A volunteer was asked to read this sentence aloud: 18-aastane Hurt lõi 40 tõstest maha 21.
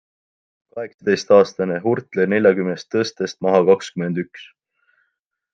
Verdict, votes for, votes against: rejected, 0, 2